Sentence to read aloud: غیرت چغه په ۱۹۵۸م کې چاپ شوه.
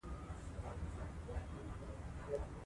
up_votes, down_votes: 0, 2